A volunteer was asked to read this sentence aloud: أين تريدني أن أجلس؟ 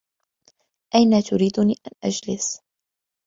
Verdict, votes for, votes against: accepted, 2, 0